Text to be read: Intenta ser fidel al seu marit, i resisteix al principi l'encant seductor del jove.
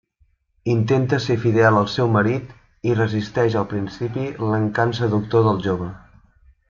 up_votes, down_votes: 2, 0